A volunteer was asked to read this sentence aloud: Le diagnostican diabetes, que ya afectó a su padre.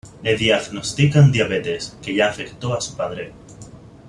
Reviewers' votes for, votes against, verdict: 1, 2, rejected